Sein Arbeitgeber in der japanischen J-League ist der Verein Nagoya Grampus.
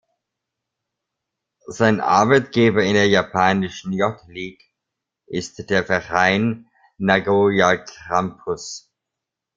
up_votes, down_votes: 1, 2